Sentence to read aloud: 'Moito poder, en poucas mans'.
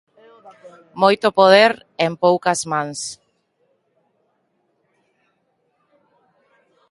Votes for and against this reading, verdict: 0, 2, rejected